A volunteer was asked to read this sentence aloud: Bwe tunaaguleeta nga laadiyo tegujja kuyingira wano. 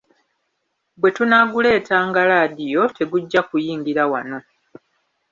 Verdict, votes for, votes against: rejected, 1, 2